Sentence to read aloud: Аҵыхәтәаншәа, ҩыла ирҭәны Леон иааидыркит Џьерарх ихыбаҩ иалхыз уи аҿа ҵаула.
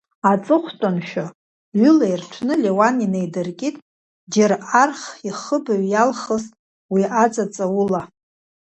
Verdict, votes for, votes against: rejected, 1, 2